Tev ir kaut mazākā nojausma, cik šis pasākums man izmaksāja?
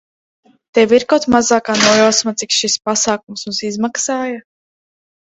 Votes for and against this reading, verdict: 0, 2, rejected